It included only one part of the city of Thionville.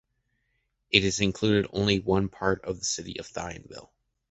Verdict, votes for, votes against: rejected, 0, 2